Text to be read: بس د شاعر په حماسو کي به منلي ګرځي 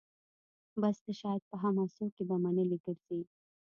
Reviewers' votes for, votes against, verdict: 1, 2, rejected